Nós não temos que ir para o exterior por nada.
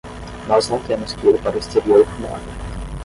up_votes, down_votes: 5, 5